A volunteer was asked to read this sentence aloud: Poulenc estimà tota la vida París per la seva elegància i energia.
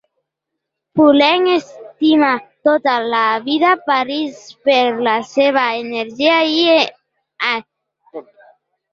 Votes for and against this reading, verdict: 0, 2, rejected